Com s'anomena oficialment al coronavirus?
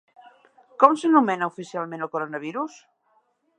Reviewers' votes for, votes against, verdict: 2, 0, accepted